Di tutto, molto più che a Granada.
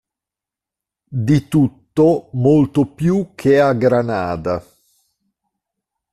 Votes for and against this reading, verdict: 0, 2, rejected